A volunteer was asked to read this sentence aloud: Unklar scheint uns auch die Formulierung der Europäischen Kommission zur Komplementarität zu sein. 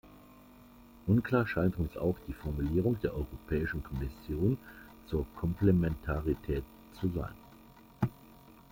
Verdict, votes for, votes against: accepted, 2, 0